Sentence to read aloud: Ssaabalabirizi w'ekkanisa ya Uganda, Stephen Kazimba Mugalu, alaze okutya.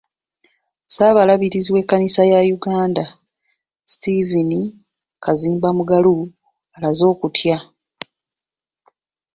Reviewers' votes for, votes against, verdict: 2, 0, accepted